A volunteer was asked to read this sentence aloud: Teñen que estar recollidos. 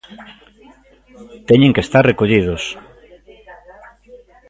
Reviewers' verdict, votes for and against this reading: accepted, 2, 0